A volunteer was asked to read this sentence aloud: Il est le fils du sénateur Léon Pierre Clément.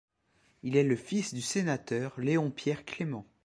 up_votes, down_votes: 2, 0